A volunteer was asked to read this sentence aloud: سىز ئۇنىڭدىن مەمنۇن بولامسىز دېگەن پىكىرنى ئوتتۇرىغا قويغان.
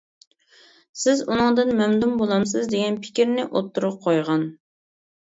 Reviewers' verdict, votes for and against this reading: accepted, 2, 0